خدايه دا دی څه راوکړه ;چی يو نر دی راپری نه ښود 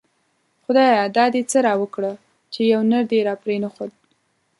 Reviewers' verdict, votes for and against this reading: accepted, 2, 1